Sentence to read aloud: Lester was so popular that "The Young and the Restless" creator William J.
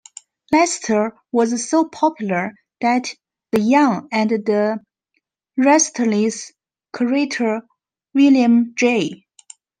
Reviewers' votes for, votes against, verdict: 0, 2, rejected